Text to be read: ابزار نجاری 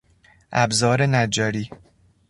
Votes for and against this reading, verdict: 2, 0, accepted